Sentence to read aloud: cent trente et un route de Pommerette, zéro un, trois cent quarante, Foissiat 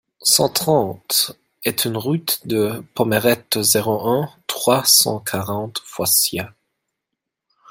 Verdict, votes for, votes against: rejected, 0, 2